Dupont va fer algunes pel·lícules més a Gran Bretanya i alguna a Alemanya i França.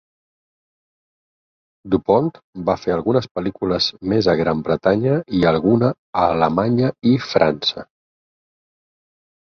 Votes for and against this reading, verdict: 6, 0, accepted